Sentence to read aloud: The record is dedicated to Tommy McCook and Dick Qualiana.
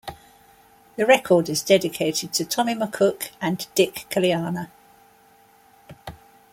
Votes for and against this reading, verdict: 3, 0, accepted